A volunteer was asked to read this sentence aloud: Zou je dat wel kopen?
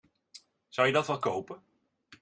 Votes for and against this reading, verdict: 2, 0, accepted